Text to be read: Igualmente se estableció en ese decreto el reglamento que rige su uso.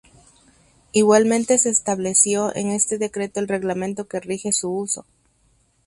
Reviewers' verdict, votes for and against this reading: rejected, 0, 2